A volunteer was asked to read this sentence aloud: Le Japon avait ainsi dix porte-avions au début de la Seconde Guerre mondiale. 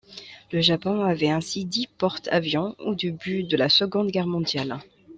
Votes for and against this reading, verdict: 1, 2, rejected